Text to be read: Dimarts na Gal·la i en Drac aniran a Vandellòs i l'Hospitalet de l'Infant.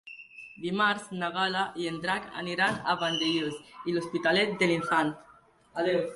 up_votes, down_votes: 2, 0